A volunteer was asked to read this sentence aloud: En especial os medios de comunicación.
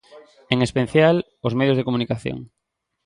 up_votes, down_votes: 1, 2